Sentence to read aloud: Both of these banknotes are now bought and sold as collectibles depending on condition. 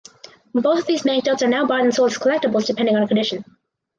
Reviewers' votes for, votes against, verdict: 2, 4, rejected